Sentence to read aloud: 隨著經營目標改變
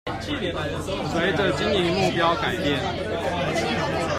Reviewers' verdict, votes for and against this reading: rejected, 1, 2